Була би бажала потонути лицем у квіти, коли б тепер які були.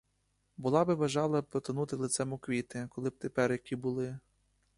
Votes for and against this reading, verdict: 2, 1, accepted